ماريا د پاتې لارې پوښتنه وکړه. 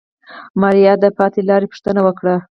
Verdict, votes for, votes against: accepted, 4, 0